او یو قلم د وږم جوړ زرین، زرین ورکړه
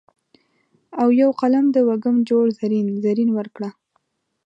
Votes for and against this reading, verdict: 2, 0, accepted